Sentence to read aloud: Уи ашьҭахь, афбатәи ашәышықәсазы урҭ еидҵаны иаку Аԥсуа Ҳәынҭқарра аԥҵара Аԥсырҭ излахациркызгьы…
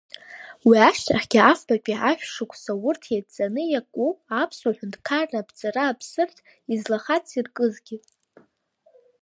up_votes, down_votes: 1, 2